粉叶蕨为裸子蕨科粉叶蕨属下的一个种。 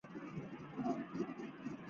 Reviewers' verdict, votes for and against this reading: rejected, 0, 4